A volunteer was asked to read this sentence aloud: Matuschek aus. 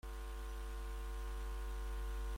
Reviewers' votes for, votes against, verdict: 0, 2, rejected